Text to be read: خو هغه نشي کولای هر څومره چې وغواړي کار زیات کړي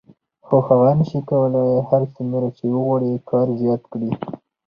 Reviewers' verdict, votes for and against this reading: rejected, 2, 2